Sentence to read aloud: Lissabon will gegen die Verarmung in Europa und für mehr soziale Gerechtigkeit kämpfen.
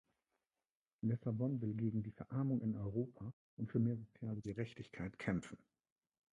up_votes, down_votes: 0, 2